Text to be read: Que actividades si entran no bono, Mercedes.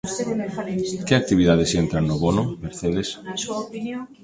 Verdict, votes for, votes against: rejected, 0, 2